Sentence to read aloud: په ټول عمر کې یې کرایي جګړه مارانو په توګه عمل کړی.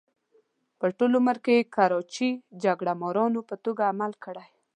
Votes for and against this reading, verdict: 0, 2, rejected